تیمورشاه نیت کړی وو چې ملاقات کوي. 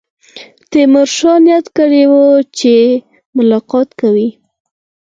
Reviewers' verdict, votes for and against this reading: accepted, 4, 0